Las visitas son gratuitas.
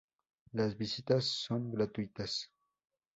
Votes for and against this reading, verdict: 2, 0, accepted